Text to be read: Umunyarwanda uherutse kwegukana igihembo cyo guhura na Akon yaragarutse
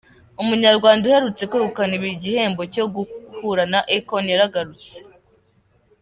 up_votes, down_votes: 1, 2